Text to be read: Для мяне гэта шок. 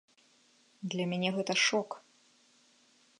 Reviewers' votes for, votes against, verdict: 3, 0, accepted